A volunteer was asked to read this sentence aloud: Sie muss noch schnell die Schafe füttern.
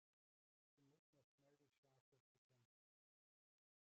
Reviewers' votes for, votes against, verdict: 0, 3, rejected